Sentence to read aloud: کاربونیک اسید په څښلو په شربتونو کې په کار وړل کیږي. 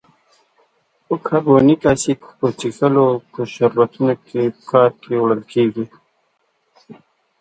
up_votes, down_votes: 1, 2